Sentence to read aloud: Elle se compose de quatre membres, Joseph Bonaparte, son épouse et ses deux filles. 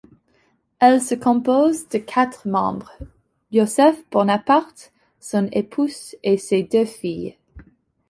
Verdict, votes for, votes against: accepted, 2, 1